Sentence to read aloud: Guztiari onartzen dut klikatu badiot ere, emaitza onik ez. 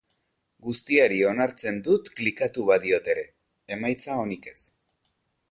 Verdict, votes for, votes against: accepted, 3, 1